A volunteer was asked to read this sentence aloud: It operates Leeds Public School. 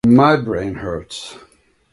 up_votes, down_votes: 0, 2